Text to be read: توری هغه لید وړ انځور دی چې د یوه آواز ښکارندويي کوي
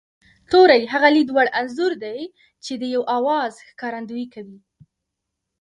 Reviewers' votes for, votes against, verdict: 0, 2, rejected